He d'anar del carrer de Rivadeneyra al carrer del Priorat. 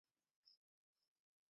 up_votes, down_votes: 0, 2